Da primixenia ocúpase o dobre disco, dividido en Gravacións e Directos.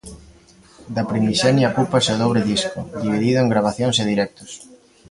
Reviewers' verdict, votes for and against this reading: rejected, 0, 2